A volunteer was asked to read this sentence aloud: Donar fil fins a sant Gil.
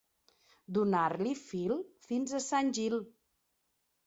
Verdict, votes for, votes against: rejected, 2, 3